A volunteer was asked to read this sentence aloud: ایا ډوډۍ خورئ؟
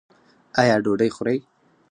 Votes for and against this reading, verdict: 0, 4, rejected